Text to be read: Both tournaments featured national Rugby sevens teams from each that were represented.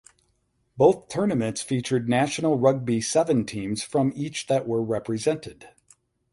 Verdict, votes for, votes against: rejected, 0, 4